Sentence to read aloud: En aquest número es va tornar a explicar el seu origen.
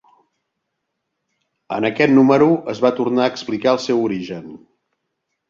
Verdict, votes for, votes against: accepted, 2, 0